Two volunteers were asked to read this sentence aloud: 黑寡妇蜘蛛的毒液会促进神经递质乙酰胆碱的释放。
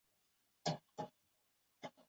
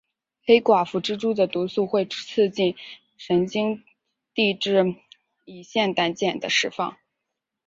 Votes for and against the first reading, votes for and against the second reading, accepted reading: 3, 6, 5, 0, second